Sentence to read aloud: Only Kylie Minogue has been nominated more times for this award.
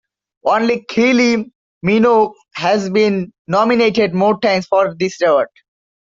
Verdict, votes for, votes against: accepted, 2, 0